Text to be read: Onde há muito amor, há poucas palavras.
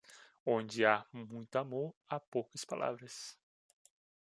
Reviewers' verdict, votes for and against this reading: accepted, 2, 1